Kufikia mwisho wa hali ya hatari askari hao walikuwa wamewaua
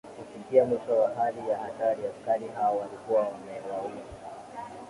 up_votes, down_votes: 7, 2